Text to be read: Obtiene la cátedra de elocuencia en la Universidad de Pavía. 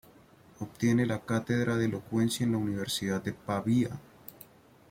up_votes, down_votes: 1, 2